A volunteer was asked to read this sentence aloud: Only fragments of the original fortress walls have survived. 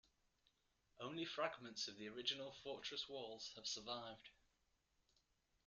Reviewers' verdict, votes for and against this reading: accepted, 2, 0